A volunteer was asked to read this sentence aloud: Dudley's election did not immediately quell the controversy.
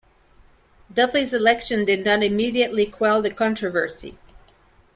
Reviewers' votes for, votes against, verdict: 2, 0, accepted